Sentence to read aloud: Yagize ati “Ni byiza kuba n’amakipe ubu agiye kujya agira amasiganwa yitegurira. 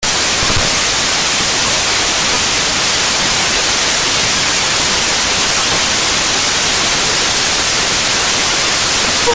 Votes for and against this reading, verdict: 0, 2, rejected